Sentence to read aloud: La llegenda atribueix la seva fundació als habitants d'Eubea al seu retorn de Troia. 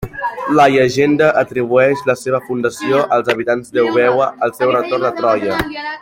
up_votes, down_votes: 0, 2